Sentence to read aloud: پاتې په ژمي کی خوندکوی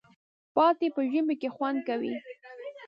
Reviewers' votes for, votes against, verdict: 0, 2, rejected